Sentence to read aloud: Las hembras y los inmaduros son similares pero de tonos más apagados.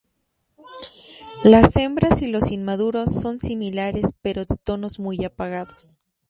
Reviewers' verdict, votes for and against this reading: rejected, 0, 2